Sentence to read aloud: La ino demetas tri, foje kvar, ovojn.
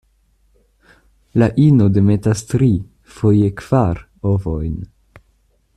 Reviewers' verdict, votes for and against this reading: accepted, 2, 0